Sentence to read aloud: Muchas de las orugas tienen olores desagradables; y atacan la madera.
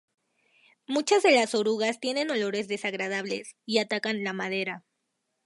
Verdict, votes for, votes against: accepted, 2, 0